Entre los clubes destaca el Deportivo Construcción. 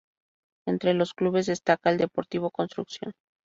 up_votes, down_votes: 2, 0